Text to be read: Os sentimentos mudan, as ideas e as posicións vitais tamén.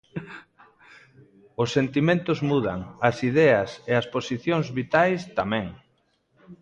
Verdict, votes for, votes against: accepted, 2, 0